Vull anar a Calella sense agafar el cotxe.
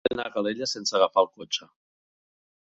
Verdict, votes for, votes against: rejected, 0, 2